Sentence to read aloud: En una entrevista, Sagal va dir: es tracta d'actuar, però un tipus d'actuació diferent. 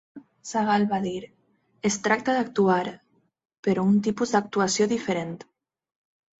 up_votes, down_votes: 0, 4